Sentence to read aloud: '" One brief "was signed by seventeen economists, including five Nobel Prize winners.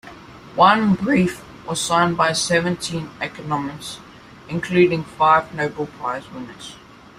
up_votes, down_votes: 1, 2